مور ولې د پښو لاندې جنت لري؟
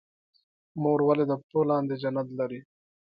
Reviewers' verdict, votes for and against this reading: accepted, 2, 0